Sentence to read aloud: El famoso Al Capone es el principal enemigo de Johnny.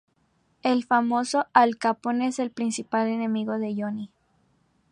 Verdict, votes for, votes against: accepted, 4, 0